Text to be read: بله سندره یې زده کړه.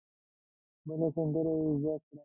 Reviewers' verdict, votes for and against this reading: accepted, 2, 0